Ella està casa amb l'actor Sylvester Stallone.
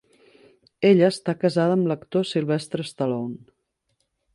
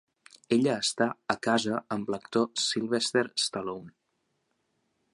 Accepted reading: second